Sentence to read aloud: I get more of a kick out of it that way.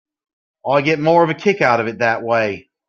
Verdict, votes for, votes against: accepted, 2, 0